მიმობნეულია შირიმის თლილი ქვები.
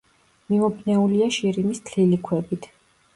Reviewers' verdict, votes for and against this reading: rejected, 0, 2